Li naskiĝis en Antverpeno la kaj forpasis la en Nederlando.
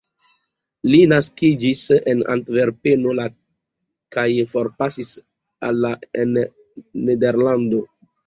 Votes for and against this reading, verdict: 2, 0, accepted